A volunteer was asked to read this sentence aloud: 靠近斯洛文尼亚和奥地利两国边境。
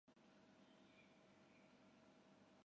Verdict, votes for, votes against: rejected, 0, 3